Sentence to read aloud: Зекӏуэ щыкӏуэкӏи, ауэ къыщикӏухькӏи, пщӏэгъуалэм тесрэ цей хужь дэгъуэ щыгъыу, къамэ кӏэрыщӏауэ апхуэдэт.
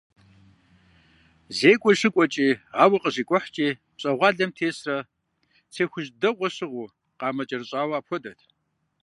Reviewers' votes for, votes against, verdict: 2, 0, accepted